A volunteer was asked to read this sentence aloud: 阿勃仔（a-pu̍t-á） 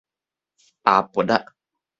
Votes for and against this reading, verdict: 2, 0, accepted